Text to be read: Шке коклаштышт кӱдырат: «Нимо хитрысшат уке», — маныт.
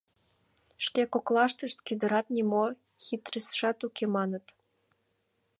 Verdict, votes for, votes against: accepted, 2, 0